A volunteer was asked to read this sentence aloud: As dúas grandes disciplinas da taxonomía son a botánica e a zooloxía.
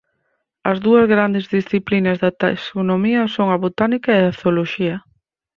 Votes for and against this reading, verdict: 2, 4, rejected